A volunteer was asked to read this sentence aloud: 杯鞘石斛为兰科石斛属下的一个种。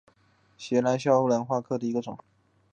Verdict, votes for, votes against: rejected, 0, 3